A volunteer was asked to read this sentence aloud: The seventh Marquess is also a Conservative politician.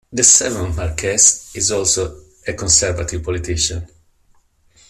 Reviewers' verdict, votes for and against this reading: accepted, 2, 0